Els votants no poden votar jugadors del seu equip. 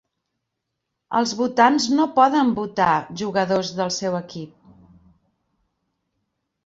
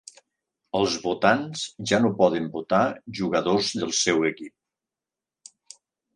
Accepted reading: first